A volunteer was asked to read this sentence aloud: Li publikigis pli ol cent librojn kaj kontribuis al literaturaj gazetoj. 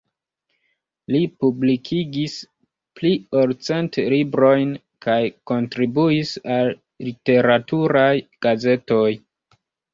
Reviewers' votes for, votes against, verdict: 2, 0, accepted